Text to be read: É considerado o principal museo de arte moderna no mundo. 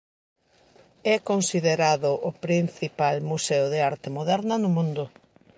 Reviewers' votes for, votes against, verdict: 2, 0, accepted